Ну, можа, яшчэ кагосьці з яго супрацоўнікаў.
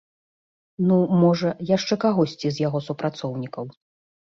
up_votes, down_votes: 2, 0